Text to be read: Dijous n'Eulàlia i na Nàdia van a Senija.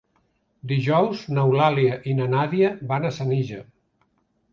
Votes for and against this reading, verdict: 3, 0, accepted